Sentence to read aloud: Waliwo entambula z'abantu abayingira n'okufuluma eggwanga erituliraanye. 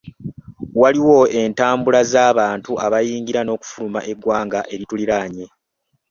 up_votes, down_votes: 1, 2